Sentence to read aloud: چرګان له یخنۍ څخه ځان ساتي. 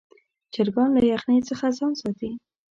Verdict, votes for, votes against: accepted, 2, 0